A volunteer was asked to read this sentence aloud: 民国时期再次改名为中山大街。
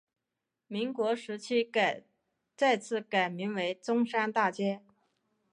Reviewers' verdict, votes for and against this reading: rejected, 1, 2